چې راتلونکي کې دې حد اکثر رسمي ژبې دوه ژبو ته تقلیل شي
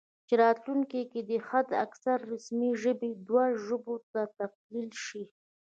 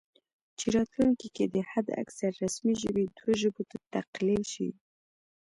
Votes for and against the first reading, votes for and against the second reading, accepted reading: 0, 2, 3, 2, second